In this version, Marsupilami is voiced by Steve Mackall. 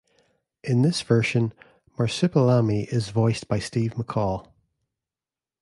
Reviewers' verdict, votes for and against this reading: accepted, 2, 0